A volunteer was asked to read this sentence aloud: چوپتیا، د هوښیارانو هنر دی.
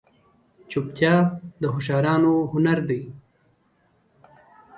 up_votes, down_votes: 2, 0